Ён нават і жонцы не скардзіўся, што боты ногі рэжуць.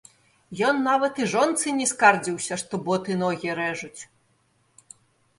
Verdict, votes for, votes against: rejected, 1, 2